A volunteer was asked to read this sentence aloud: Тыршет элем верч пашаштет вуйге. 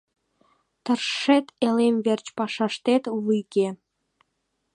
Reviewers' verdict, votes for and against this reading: accepted, 2, 0